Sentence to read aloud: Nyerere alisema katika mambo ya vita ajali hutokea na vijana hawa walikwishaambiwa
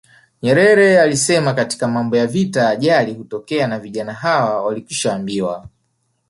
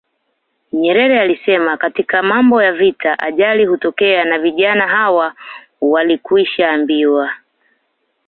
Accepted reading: second